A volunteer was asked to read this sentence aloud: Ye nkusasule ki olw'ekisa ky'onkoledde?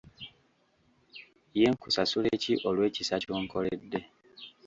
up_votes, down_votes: 1, 2